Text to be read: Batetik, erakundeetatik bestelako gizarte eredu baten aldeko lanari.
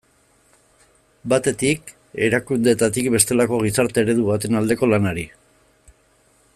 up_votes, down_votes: 2, 0